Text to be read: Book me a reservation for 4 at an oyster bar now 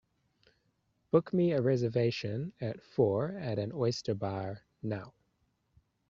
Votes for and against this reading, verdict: 0, 2, rejected